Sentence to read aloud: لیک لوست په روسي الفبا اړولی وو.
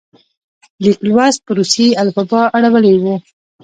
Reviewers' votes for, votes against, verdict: 2, 0, accepted